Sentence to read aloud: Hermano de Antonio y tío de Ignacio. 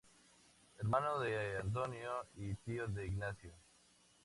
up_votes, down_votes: 2, 0